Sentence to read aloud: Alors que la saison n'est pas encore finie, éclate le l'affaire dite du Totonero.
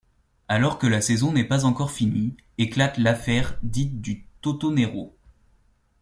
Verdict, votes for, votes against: rejected, 1, 2